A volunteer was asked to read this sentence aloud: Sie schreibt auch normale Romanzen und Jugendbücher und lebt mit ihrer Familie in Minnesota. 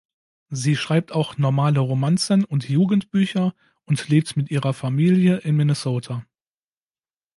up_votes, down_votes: 2, 0